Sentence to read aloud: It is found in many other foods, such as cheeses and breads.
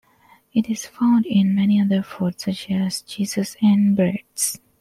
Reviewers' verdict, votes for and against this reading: accepted, 2, 0